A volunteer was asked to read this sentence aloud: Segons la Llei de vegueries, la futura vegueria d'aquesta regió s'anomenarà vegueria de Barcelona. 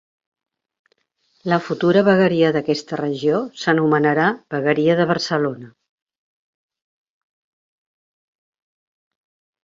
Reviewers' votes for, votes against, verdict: 1, 2, rejected